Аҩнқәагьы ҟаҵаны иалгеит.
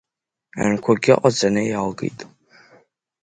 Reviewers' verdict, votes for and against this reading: rejected, 1, 2